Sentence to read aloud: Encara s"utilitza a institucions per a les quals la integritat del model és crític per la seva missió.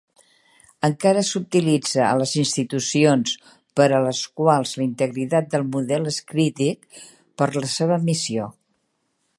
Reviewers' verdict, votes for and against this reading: rejected, 0, 4